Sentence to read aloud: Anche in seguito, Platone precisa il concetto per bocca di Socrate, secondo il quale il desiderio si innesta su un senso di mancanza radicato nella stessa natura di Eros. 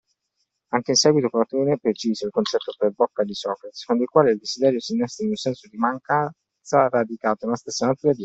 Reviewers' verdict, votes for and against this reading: rejected, 0, 2